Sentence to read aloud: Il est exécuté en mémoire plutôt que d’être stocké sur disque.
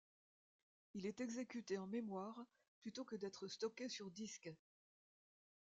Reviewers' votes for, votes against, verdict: 2, 0, accepted